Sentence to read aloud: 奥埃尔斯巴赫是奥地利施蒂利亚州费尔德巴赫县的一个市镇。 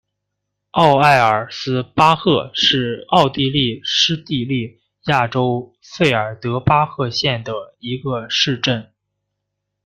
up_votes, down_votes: 1, 2